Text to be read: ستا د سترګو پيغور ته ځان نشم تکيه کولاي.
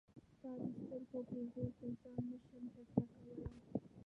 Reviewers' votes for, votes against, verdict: 1, 2, rejected